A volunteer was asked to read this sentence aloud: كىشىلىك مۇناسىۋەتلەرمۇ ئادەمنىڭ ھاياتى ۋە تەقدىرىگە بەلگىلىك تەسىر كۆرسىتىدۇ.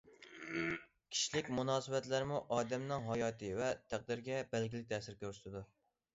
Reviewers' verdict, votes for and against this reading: accepted, 2, 0